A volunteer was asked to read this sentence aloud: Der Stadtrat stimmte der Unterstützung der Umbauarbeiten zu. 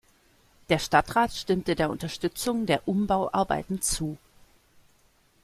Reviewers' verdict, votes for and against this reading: accepted, 2, 0